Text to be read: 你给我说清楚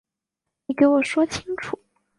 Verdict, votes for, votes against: accepted, 2, 0